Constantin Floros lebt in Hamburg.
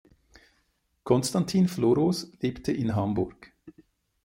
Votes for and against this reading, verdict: 0, 2, rejected